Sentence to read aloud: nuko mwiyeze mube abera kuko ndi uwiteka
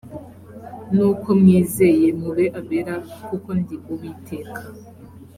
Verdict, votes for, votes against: rejected, 0, 2